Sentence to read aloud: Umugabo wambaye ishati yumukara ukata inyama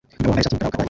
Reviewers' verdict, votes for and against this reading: rejected, 1, 2